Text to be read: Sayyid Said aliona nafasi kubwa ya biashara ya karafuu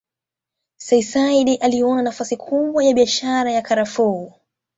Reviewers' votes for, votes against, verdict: 2, 0, accepted